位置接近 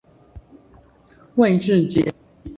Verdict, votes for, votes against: rejected, 0, 2